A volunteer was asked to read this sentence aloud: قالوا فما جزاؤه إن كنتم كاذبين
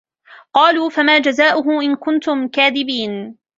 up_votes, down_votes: 2, 0